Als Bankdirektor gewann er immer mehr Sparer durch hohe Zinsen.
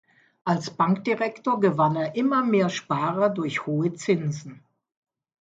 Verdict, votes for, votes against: accepted, 2, 0